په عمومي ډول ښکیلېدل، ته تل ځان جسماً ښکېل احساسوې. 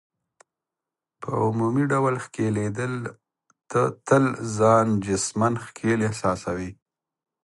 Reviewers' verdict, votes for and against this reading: accepted, 2, 0